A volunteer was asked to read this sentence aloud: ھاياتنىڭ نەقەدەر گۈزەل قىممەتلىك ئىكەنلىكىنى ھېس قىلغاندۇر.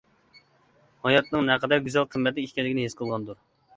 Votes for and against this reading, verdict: 2, 0, accepted